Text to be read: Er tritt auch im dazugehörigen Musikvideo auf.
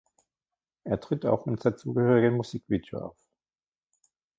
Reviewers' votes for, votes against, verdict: 2, 0, accepted